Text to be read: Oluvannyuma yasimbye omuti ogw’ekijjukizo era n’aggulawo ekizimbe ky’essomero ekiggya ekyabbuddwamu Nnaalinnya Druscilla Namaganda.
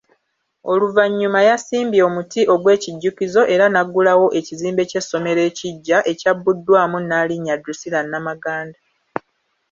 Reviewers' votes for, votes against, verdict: 2, 0, accepted